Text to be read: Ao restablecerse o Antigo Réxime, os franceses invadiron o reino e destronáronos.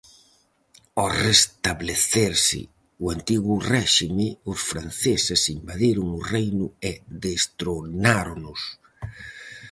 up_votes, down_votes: 2, 2